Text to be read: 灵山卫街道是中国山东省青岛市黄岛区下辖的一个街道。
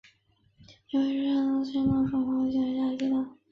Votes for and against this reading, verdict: 4, 2, accepted